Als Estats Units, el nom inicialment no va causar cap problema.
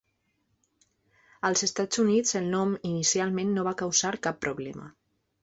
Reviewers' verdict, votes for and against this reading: accepted, 3, 0